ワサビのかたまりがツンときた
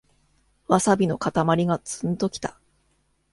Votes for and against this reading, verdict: 1, 2, rejected